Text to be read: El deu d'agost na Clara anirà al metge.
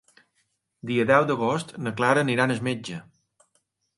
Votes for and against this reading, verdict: 2, 0, accepted